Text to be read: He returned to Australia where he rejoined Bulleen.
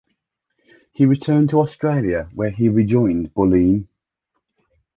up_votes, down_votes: 2, 0